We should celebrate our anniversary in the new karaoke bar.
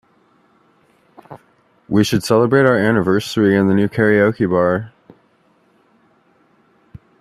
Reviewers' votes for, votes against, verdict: 2, 0, accepted